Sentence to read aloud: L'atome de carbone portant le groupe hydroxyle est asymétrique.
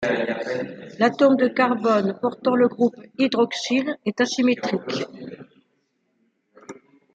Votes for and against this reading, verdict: 2, 1, accepted